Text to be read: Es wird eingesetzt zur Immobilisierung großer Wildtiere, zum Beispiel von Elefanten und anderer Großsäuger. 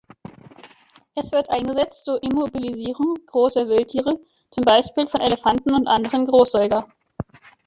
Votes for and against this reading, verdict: 0, 2, rejected